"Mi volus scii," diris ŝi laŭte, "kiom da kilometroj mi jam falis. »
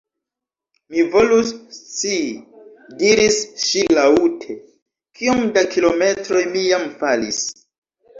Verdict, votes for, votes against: rejected, 1, 2